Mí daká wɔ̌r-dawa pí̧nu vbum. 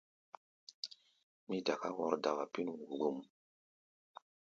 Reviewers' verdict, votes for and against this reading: accepted, 2, 0